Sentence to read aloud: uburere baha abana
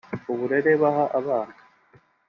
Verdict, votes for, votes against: accepted, 2, 0